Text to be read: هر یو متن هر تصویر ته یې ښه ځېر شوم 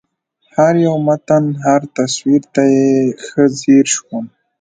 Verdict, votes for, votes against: rejected, 0, 2